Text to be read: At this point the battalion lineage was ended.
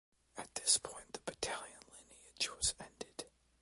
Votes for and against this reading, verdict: 0, 2, rejected